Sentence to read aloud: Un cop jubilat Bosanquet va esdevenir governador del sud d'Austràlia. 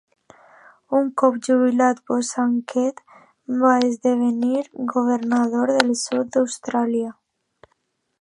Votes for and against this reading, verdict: 2, 0, accepted